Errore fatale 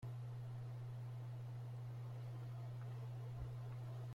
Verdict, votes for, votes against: rejected, 0, 2